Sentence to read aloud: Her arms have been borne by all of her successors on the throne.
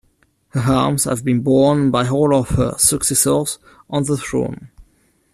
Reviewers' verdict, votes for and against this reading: accepted, 2, 1